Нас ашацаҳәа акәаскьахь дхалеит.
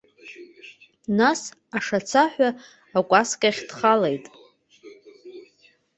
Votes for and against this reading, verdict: 2, 0, accepted